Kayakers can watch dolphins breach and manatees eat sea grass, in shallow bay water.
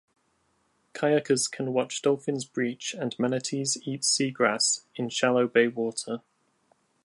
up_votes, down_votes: 2, 0